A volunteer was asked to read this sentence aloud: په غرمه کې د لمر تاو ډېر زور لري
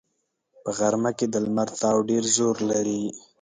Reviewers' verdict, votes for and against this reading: accepted, 4, 0